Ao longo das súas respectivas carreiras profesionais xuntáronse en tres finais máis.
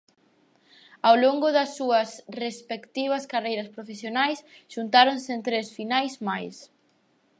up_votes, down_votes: 4, 0